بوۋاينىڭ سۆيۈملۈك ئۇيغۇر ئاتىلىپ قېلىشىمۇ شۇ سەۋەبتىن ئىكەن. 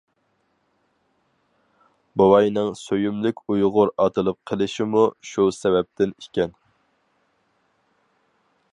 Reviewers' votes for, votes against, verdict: 4, 0, accepted